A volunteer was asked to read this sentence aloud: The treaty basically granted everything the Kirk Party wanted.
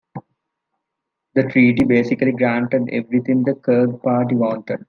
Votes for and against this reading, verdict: 2, 0, accepted